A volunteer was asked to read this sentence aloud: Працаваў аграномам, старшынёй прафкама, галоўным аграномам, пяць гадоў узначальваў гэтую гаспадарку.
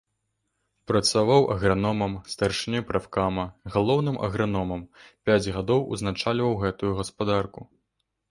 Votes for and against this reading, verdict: 2, 0, accepted